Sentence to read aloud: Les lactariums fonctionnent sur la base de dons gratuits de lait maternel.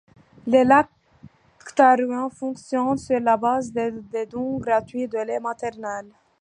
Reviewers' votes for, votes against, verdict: 1, 2, rejected